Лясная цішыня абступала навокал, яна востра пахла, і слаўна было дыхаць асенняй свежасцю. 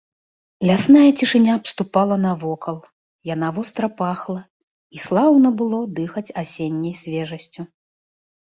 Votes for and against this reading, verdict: 2, 0, accepted